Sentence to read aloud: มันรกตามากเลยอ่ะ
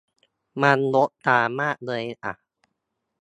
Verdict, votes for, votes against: accepted, 2, 0